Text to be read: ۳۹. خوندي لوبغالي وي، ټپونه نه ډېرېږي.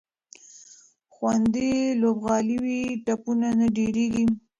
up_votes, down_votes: 0, 2